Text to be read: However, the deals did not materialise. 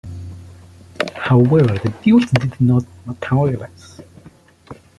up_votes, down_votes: 1, 2